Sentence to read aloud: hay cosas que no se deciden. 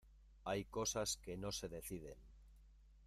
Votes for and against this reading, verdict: 0, 2, rejected